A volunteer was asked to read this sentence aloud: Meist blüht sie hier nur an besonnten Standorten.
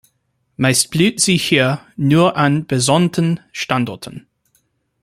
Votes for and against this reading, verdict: 2, 0, accepted